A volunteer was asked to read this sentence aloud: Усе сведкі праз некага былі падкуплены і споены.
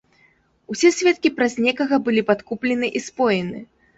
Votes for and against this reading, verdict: 2, 0, accepted